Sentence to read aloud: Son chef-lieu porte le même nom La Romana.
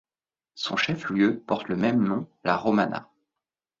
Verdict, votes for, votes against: accepted, 2, 0